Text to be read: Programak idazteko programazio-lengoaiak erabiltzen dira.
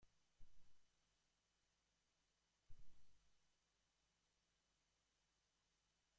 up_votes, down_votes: 0, 3